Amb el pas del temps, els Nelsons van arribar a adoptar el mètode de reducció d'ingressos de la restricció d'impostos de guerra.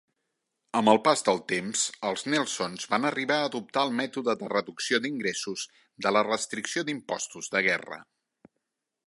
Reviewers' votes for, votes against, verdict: 3, 0, accepted